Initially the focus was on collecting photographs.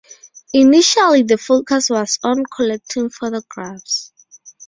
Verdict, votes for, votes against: rejected, 0, 4